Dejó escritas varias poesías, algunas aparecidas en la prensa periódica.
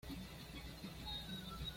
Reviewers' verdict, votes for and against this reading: rejected, 1, 2